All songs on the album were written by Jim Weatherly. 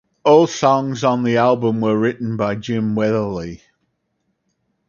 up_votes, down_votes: 2, 4